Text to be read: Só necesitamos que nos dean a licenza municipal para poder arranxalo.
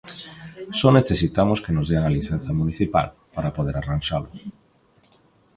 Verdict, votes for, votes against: rejected, 1, 2